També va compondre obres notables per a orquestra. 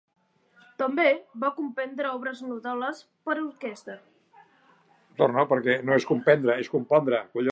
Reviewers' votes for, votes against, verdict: 0, 2, rejected